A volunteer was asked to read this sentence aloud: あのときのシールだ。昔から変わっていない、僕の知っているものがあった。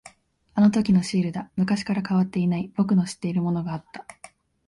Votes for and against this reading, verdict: 2, 0, accepted